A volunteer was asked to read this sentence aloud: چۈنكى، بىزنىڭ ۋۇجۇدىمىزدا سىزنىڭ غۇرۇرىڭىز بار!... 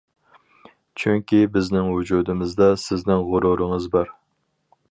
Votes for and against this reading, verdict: 4, 0, accepted